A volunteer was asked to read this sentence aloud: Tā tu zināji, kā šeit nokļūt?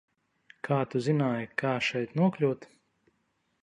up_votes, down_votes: 0, 2